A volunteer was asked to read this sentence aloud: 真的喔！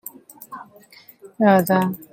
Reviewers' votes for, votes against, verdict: 0, 2, rejected